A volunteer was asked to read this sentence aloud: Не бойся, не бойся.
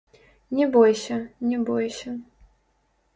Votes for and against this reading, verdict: 0, 2, rejected